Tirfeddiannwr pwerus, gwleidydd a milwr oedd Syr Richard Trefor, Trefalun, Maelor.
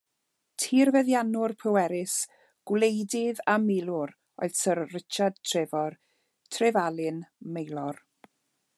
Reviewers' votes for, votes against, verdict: 2, 0, accepted